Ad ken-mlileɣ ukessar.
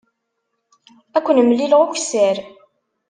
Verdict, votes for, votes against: accepted, 2, 0